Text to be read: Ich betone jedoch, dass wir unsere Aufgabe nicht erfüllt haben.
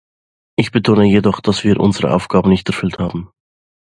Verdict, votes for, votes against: accepted, 2, 0